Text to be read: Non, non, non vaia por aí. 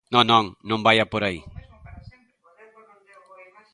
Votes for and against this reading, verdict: 0, 2, rejected